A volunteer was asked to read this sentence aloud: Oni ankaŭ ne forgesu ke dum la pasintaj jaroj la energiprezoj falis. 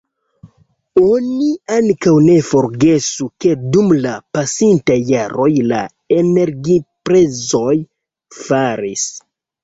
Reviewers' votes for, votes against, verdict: 1, 2, rejected